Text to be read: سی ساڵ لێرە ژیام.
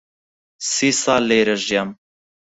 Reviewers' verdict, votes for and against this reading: accepted, 4, 2